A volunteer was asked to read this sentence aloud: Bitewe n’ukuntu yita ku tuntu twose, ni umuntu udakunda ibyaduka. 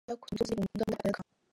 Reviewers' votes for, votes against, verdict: 0, 2, rejected